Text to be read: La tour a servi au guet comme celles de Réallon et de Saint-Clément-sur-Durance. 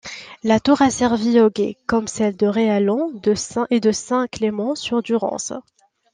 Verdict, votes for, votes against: rejected, 0, 2